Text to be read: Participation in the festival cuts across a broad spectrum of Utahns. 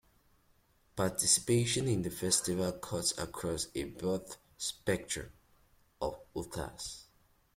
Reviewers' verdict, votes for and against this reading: accepted, 2, 0